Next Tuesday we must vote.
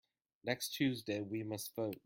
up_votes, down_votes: 2, 0